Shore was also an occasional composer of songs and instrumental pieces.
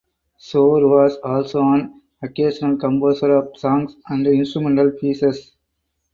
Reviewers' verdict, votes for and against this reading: accepted, 4, 0